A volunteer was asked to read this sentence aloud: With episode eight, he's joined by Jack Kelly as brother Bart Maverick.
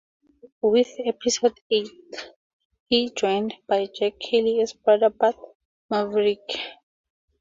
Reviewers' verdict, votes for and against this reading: rejected, 2, 2